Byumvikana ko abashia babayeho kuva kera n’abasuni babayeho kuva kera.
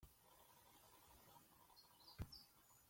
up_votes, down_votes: 0, 3